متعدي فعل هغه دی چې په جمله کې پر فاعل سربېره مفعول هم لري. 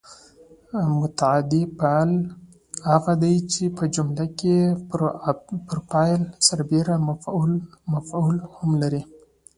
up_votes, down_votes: 1, 2